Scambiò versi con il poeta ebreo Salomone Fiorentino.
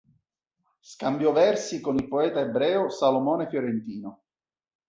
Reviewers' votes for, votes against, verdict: 2, 0, accepted